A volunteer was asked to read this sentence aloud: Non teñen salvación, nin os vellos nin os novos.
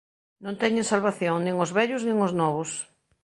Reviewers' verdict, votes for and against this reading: accepted, 2, 0